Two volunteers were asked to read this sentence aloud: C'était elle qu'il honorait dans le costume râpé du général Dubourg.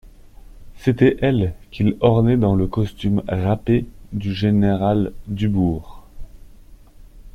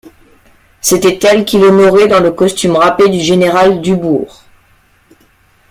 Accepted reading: second